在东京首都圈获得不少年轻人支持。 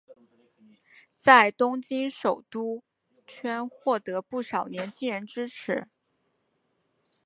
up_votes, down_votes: 3, 0